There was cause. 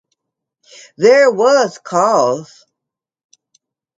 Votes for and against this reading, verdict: 2, 0, accepted